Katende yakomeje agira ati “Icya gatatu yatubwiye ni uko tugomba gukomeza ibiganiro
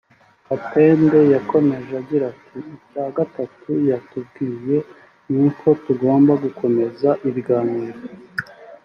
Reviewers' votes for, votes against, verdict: 2, 0, accepted